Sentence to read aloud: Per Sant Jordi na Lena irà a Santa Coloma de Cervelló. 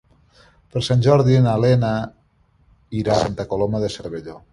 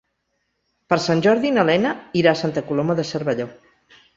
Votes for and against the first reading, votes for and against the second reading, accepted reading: 1, 2, 3, 0, second